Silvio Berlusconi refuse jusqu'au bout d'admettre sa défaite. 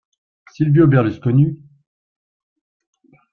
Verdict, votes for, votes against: rejected, 0, 2